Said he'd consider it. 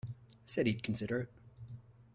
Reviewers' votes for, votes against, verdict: 2, 0, accepted